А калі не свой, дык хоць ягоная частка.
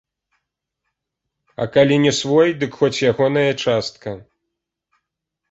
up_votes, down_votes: 3, 0